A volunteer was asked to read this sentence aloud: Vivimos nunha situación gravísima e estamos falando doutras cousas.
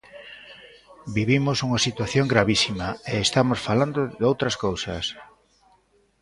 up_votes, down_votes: 0, 2